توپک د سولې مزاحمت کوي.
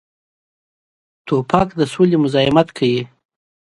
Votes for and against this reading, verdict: 2, 0, accepted